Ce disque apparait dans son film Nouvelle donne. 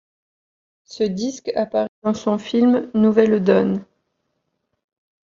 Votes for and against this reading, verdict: 1, 2, rejected